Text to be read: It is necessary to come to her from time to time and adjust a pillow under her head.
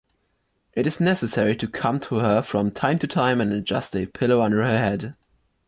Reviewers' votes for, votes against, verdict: 2, 1, accepted